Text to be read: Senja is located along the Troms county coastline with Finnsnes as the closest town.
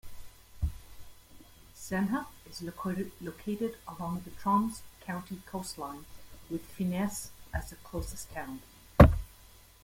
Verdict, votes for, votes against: rejected, 1, 2